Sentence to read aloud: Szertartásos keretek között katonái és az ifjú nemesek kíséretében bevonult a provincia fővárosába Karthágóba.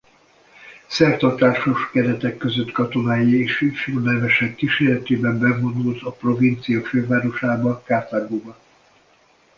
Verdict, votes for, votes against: rejected, 0, 2